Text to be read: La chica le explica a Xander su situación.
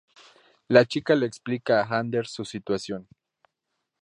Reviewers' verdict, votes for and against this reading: rejected, 0, 2